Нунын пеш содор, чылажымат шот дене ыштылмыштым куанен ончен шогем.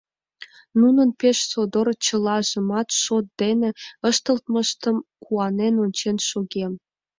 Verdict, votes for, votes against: rejected, 1, 2